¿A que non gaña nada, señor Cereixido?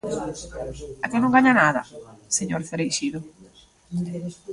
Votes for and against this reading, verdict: 0, 2, rejected